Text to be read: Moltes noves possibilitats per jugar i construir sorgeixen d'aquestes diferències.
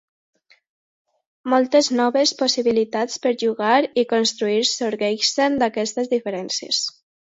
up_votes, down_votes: 2, 0